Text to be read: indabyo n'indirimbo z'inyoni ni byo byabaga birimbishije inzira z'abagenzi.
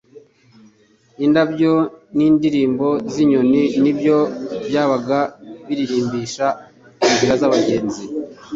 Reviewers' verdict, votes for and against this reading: rejected, 1, 2